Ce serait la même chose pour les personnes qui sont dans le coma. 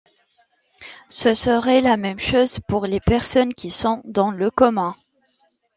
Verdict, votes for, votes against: accepted, 2, 0